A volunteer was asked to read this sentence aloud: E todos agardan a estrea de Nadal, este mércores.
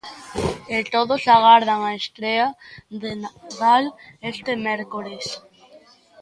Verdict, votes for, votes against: rejected, 0, 2